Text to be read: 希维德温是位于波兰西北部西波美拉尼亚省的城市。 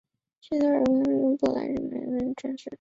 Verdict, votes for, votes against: rejected, 0, 2